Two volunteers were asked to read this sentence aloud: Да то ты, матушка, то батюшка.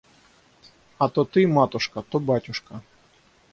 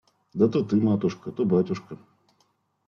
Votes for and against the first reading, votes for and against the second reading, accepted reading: 0, 6, 2, 0, second